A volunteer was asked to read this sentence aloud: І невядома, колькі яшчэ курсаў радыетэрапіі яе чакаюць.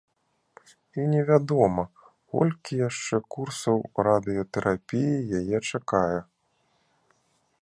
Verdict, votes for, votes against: rejected, 1, 2